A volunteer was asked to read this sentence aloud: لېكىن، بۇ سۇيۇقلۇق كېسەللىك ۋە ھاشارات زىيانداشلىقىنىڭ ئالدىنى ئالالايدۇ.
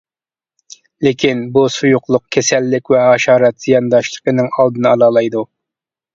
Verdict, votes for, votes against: accepted, 2, 0